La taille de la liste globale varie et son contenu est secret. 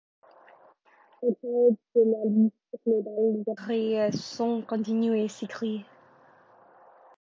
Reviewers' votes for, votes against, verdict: 0, 2, rejected